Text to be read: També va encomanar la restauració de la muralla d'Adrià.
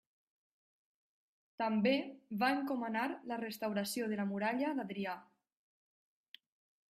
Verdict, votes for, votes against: accepted, 3, 0